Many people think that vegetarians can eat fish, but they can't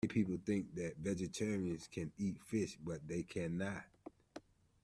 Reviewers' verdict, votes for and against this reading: rejected, 0, 2